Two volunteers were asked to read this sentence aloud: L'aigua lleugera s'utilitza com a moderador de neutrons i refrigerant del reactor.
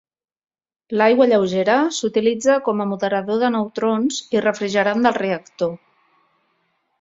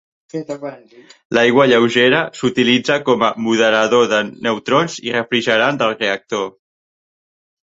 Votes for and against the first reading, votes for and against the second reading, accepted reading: 2, 0, 1, 2, first